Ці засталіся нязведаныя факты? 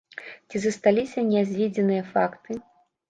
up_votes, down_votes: 0, 2